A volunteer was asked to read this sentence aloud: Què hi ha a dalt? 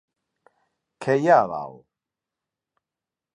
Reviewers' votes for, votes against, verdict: 2, 0, accepted